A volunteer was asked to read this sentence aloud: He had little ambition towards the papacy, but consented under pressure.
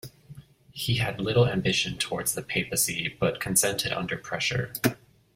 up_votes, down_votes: 2, 0